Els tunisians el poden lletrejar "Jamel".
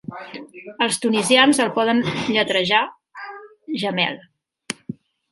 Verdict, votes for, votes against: rejected, 0, 2